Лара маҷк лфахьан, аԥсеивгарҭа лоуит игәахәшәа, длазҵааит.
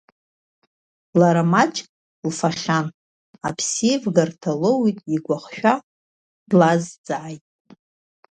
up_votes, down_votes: 0, 2